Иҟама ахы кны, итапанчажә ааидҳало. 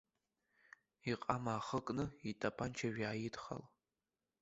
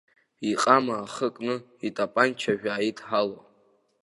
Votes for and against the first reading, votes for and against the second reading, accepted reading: 0, 2, 2, 0, second